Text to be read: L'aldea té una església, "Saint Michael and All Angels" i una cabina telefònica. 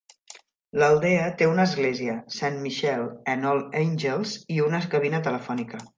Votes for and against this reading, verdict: 0, 2, rejected